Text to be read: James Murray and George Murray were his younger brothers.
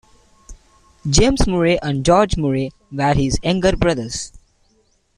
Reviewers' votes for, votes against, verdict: 1, 2, rejected